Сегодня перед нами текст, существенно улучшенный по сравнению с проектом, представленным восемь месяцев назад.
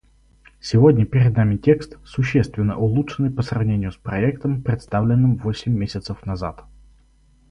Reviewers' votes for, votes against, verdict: 4, 0, accepted